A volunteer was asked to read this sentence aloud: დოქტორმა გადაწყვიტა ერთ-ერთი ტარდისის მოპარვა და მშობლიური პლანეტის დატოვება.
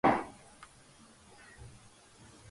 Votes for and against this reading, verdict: 0, 2, rejected